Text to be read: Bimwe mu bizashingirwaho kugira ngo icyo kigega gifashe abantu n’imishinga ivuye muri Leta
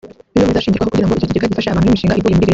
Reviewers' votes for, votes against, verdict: 0, 2, rejected